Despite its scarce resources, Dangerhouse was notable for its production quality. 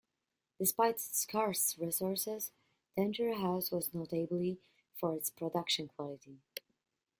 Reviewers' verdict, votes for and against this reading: rejected, 1, 2